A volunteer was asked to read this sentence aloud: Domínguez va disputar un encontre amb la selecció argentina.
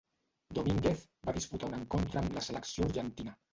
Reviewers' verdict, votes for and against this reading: rejected, 1, 3